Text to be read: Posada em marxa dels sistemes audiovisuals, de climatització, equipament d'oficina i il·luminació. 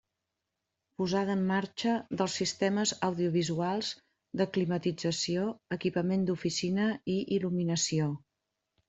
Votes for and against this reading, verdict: 2, 0, accepted